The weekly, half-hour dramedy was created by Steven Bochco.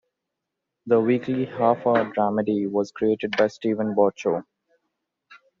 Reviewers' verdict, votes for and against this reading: accepted, 2, 0